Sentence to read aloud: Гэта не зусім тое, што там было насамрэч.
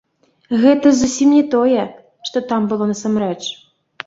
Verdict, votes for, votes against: rejected, 1, 2